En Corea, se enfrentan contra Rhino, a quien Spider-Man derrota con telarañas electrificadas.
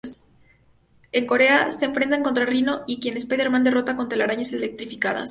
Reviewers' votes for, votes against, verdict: 0, 2, rejected